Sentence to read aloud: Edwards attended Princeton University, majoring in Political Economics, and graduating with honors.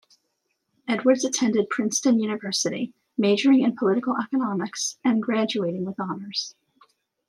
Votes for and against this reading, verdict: 2, 1, accepted